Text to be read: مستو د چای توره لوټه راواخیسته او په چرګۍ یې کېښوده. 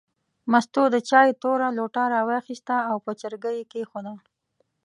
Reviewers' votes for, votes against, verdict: 2, 0, accepted